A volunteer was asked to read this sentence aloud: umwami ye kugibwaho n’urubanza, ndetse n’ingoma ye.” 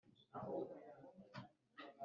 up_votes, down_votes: 1, 2